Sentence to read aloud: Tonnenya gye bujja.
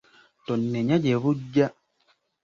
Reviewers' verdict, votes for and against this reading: accepted, 2, 0